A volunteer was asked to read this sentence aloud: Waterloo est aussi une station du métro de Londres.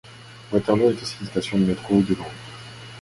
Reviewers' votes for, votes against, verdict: 0, 2, rejected